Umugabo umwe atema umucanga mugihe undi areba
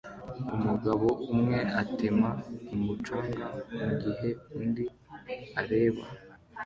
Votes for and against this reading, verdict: 2, 0, accepted